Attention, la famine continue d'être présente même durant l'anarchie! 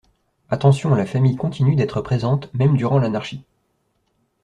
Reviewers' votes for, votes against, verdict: 1, 2, rejected